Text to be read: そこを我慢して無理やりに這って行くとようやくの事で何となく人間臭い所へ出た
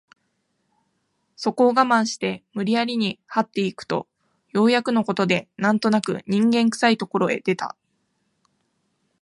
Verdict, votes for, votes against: accepted, 2, 0